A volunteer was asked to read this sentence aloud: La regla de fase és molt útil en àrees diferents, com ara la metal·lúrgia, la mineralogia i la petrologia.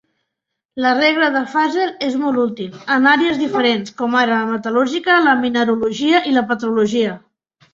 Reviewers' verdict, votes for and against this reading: rejected, 1, 2